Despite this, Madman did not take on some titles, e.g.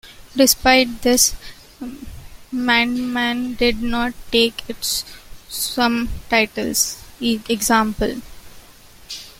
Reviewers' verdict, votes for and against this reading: rejected, 0, 2